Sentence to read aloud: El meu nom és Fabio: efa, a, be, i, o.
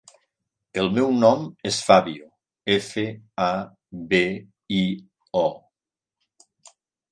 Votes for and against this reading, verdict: 1, 2, rejected